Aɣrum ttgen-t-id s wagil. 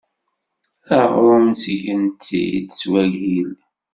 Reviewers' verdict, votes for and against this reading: rejected, 0, 2